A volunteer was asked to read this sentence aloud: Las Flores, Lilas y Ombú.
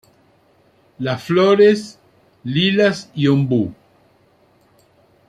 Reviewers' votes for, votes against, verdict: 2, 1, accepted